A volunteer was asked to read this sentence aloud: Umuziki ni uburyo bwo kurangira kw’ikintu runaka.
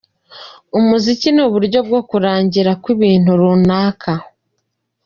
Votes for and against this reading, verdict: 3, 0, accepted